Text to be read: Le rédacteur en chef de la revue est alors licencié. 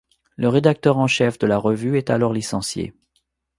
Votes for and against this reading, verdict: 2, 0, accepted